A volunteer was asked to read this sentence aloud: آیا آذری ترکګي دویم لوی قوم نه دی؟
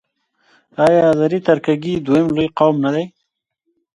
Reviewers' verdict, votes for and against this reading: accepted, 2, 0